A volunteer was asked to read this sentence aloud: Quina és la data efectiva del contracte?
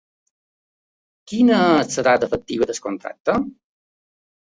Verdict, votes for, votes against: accepted, 2, 1